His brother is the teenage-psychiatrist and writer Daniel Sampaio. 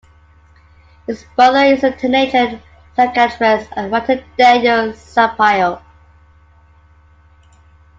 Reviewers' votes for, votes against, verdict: 0, 2, rejected